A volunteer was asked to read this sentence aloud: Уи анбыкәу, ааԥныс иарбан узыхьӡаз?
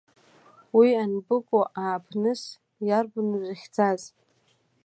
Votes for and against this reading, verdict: 2, 0, accepted